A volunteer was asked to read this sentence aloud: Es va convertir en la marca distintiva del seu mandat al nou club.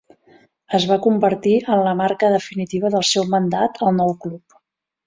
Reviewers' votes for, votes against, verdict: 2, 4, rejected